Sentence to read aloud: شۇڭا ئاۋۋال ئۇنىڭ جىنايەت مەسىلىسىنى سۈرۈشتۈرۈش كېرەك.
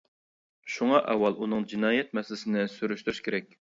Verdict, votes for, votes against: accepted, 2, 0